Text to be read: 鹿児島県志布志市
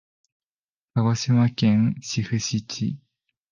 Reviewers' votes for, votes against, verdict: 0, 2, rejected